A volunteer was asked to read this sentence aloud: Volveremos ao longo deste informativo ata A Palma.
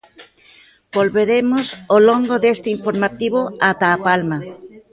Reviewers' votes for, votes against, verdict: 1, 2, rejected